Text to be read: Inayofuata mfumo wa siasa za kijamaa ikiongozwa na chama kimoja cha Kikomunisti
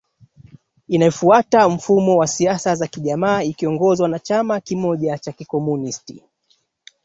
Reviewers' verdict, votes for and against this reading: accepted, 2, 1